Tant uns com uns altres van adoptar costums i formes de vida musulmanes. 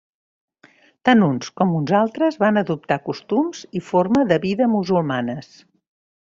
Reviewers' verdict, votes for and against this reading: rejected, 1, 2